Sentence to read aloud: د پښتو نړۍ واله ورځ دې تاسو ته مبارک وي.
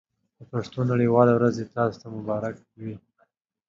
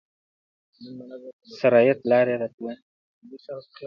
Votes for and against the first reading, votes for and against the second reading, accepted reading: 2, 0, 1, 2, first